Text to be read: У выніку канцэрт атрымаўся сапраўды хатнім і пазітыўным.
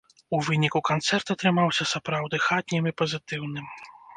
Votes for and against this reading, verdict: 0, 2, rejected